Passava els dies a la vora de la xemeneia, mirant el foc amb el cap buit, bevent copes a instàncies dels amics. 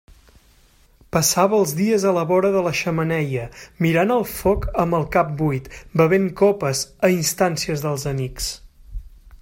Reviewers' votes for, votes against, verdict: 3, 0, accepted